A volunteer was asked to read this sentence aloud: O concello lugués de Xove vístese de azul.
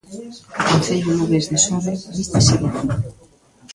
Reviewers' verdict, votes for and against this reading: rejected, 0, 3